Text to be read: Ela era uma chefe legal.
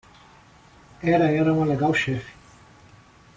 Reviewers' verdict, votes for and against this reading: rejected, 0, 2